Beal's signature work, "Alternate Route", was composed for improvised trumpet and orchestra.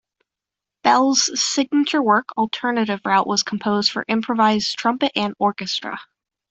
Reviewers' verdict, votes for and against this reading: rejected, 1, 2